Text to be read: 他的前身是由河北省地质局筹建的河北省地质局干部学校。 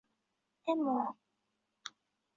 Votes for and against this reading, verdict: 0, 3, rejected